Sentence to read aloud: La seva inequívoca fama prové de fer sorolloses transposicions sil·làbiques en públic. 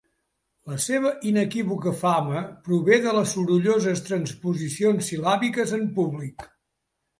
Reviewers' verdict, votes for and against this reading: rejected, 0, 2